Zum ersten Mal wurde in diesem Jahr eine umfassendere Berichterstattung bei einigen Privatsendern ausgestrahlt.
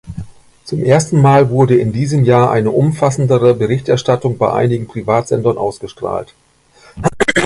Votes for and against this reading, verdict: 2, 0, accepted